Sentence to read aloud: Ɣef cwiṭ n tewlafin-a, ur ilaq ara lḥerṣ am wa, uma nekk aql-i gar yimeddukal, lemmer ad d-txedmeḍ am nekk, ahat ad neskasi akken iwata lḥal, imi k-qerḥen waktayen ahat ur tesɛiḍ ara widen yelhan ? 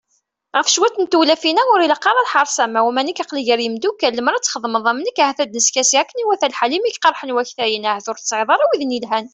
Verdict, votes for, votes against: accepted, 2, 0